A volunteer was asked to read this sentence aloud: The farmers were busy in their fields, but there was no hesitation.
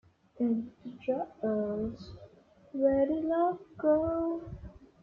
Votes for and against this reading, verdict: 0, 2, rejected